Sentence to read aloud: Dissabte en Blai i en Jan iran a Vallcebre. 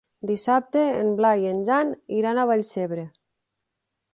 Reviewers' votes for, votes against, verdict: 3, 0, accepted